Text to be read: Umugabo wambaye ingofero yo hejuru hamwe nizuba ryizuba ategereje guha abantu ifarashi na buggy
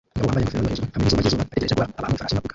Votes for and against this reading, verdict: 0, 2, rejected